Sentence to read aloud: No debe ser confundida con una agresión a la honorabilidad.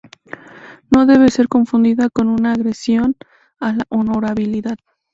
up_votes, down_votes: 0, 2